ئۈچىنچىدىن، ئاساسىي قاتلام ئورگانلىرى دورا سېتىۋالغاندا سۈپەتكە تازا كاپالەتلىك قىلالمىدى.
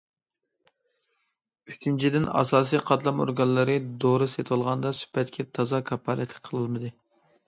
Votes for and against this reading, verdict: 0, 2, rejected